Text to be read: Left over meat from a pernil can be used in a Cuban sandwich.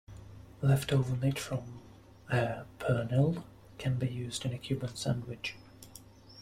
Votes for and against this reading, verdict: 0, 2, rejected